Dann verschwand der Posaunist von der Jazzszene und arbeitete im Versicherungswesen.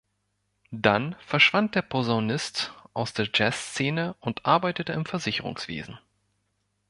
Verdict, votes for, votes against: rejected, 0, 2